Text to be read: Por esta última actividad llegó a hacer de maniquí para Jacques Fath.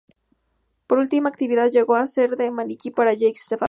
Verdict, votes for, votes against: rejected, 0, 2